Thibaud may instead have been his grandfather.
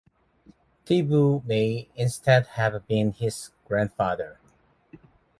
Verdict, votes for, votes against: accepted, 2, 0